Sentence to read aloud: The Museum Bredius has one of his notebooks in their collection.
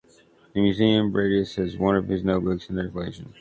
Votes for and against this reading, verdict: 2, 0, accepted